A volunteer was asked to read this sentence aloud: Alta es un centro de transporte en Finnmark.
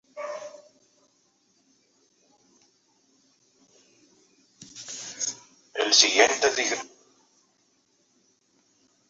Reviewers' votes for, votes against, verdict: 0, 2, rejected